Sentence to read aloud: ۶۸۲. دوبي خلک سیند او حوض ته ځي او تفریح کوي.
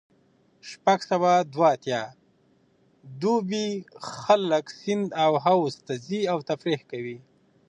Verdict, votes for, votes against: rejected, 0, 2